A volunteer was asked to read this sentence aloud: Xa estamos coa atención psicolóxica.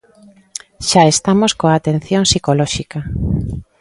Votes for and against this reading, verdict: 2, 0, accepted